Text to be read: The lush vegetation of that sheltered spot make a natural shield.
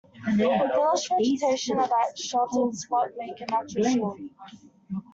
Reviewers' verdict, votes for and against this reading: rejected, 0, 2